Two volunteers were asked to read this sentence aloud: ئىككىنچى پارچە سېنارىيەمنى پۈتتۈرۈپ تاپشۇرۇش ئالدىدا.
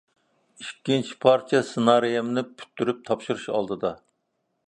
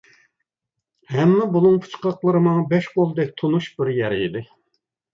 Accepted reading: first